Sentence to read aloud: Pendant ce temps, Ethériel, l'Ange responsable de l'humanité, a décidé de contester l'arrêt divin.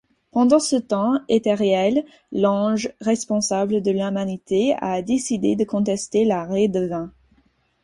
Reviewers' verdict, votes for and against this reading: rejected, 2, 4